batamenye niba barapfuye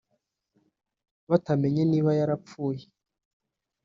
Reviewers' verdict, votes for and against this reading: rejected, 0, 2